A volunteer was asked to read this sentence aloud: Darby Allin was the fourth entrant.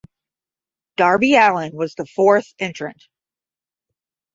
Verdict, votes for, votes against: accepted, 5, 0